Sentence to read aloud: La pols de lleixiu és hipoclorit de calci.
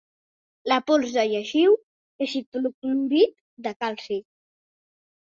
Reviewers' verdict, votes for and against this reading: accepted, 3, 1